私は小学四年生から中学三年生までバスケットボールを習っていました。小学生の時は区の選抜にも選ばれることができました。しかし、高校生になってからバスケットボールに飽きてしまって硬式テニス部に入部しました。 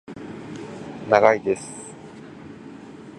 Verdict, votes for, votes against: rejected, 0, 2